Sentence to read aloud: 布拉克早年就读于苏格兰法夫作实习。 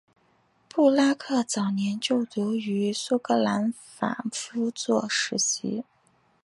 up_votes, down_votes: 2, 0